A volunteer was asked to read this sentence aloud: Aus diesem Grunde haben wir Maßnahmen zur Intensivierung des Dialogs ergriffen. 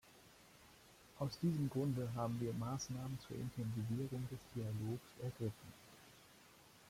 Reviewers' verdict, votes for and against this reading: rejected, 0, 2